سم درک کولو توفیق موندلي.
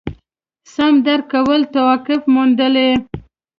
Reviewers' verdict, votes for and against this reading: accepted, 2, 0